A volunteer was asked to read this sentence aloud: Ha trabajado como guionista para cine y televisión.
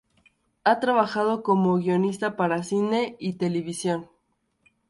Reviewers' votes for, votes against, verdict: 2, 0, accepted